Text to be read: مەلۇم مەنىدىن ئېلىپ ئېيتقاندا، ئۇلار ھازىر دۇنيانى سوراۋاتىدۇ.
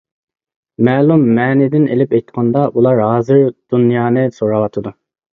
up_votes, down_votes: 2, 0